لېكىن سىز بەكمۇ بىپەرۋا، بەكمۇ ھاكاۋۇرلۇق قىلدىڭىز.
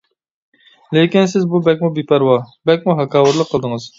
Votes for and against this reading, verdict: 1, 2, rejected